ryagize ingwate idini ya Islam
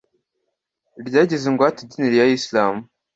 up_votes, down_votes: 2, 0